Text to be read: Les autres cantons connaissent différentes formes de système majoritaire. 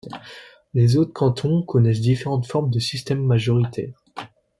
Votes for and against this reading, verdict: 3, 0, accepted